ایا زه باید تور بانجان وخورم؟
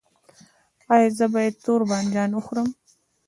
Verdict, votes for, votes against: rejected, 1, 2